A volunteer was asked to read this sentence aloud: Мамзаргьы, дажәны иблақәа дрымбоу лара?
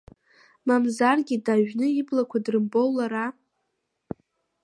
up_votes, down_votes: 1, 2